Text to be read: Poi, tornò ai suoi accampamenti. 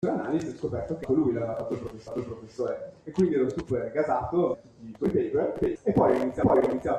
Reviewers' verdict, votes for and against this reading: rejected, 0, 2